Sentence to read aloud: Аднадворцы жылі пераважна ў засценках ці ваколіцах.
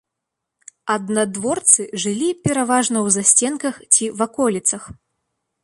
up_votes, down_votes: 3, 0